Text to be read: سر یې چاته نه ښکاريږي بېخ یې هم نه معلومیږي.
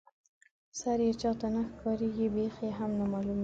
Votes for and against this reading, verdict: 0, 2, rejected